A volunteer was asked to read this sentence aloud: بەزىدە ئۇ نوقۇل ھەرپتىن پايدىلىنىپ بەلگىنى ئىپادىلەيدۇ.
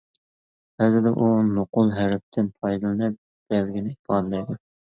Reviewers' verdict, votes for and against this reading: rejected, 0, 2